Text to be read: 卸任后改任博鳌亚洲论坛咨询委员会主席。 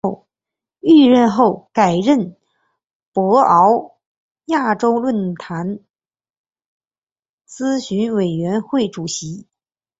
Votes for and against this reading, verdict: 0, 2, rejected